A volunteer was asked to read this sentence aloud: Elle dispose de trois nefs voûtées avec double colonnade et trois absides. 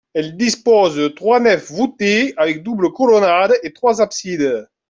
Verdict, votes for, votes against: accepted, 2, 0